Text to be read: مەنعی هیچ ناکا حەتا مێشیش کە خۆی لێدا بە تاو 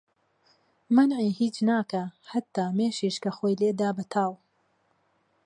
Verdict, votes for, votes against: accepted, 2, 0